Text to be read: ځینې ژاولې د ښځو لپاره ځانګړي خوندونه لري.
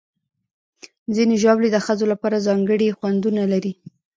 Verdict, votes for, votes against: rejected, 1, 2